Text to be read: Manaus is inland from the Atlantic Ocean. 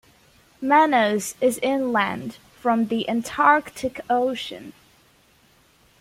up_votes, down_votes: 1, 2